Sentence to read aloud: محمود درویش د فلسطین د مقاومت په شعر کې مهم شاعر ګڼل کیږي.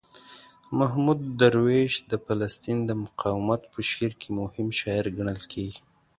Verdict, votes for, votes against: accepted, 2, 0